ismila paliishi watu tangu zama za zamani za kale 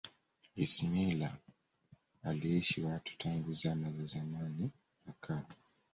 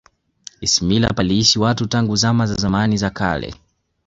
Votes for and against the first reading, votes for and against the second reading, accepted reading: 1, 2, 2, 1, second